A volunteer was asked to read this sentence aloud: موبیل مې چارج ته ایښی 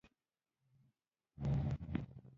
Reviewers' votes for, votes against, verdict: 0, 2, rejected